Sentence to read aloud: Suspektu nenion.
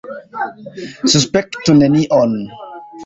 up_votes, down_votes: 2, 1